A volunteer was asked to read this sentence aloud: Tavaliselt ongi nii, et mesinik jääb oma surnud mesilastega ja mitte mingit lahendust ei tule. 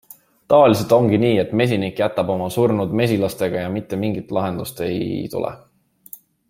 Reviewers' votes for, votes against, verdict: 1, 2, rejected